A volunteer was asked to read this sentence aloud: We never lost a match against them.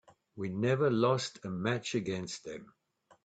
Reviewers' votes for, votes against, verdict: 2, 0, accepted